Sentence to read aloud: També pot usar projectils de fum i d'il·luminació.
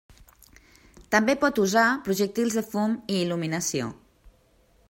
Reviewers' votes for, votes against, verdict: 1, 2, rejected